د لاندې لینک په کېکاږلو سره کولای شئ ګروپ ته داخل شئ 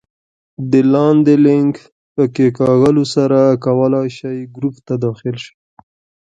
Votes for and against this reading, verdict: 2, 0, accepted